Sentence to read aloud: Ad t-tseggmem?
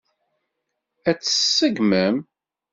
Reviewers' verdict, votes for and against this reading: rejected, 0, 2